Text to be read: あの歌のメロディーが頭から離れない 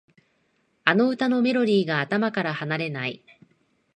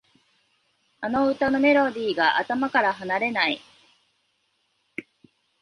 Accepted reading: second